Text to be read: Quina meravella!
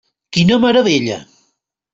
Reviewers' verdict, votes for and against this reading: accepted, 3, 0